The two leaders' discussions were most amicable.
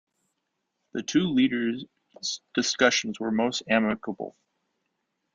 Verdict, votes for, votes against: accepted, 2, 0